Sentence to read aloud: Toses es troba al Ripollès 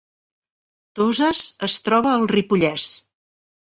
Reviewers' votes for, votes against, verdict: 3, 0, accepted